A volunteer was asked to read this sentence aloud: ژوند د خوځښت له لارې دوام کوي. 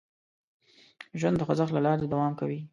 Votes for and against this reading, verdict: 2, 1, accepted